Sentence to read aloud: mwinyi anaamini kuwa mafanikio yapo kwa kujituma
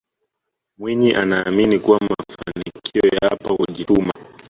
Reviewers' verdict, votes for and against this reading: accepted, 2, 1